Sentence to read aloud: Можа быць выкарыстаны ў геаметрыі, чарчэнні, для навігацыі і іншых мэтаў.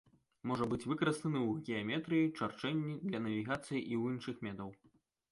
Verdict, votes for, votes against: rejected, 1, 4